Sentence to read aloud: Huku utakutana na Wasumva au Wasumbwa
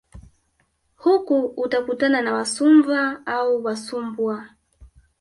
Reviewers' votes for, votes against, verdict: 0, 2, rejected